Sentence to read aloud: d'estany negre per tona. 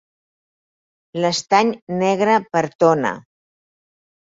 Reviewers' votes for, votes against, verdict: 0, 4, rejected